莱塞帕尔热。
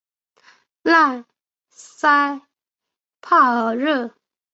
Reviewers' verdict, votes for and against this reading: accepted, 2, 1